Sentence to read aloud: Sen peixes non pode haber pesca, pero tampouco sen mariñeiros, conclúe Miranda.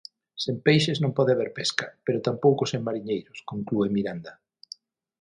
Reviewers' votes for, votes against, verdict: 9, 0, accepted